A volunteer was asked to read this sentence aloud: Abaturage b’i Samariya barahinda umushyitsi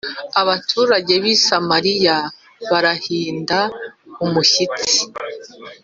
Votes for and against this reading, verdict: 2, 0, accepted